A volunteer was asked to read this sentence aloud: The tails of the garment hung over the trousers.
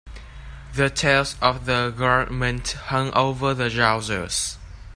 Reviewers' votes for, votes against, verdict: 1, 2, rejected